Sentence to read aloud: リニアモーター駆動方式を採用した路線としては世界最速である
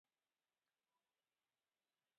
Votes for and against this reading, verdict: 0, 2, rejected